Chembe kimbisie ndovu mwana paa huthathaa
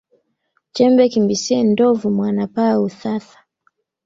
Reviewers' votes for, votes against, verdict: 3, 1, accepted